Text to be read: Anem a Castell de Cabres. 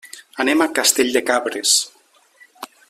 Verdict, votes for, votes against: accepted, 3, 0